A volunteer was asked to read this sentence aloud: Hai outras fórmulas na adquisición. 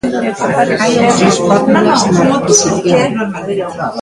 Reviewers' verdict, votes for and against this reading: rejected, 0, 2